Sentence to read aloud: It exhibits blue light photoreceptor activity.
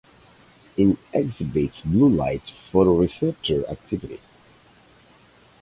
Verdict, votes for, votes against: accepted, 4, 2